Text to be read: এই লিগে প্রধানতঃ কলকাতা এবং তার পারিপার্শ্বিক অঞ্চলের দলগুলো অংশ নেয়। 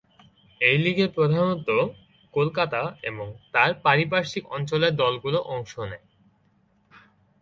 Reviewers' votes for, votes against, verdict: 7, 0, accepted